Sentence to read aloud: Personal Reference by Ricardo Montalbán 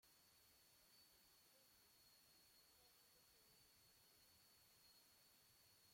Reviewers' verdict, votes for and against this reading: rejected, 0, 2